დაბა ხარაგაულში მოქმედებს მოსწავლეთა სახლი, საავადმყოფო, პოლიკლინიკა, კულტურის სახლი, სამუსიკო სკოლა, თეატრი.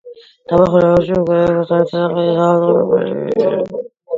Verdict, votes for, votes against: rejected, 0, 2